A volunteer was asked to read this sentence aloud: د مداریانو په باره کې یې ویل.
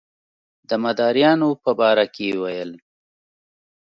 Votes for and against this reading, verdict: 2, 1, accepted